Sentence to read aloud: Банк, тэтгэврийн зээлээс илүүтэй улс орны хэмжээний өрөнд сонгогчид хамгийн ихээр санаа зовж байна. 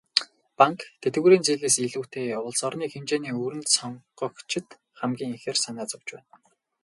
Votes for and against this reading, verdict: 0, 2, rejected